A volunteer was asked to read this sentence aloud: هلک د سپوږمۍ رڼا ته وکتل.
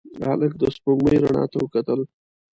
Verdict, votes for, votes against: rejected, 1, 2